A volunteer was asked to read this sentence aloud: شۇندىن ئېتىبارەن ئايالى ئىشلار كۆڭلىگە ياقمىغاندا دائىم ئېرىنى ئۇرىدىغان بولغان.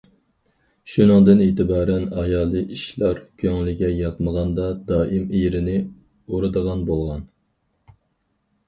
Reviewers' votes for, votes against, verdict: 2, 4, rejected